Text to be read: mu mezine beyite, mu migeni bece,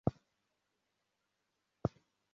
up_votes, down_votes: 0, 2